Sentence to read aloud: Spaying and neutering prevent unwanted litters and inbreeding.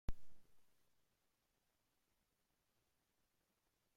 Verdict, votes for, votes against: rejected, 0, 2